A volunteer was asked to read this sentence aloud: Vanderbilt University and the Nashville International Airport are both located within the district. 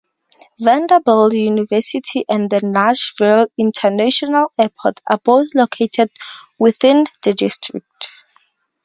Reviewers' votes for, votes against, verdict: 2, 2, rejected